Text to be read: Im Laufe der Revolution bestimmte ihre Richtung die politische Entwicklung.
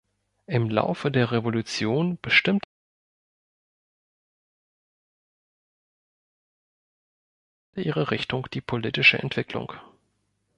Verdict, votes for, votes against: rejected, 0, 2